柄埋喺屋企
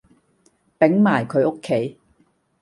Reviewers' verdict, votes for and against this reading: rejected, 1, 2